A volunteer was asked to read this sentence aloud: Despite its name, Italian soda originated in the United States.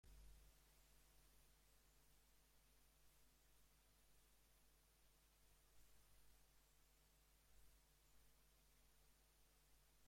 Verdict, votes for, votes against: rejected, 0, 2